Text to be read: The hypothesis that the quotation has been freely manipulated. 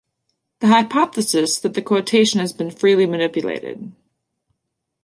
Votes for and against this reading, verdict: 2, 0, accepted